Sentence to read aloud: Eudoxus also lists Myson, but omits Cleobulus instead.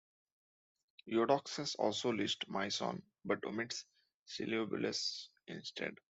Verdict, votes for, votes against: rejected, 1, 2